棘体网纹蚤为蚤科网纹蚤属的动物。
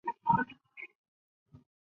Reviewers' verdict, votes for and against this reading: rejected, 1, 3